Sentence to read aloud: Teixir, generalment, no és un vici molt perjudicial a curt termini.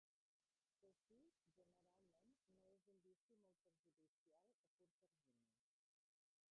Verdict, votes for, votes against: rejected, 1, 2